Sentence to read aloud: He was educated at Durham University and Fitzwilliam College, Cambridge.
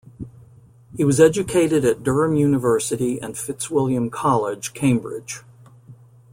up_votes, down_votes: 2, 0